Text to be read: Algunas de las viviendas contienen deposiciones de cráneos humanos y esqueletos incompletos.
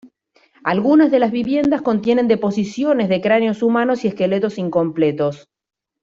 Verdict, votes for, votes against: accepted, 2, 0